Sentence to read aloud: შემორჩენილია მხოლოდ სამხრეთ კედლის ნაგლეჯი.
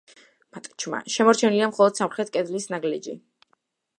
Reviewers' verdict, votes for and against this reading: rejected, 1, 2